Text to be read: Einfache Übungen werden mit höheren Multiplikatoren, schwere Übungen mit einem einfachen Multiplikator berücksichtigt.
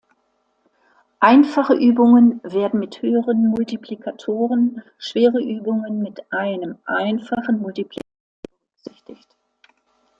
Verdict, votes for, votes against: rejected, 1, 2